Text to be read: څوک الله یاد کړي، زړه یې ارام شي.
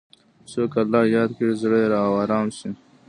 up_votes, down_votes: 3, 2